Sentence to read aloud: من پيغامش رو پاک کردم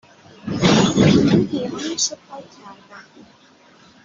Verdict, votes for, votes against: rejected, 1, 2